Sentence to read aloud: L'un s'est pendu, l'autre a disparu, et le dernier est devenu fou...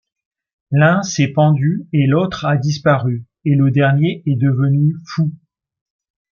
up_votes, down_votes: 2, 1